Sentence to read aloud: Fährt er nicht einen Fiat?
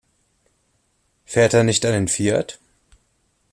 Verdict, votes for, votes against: accepted, 2, 0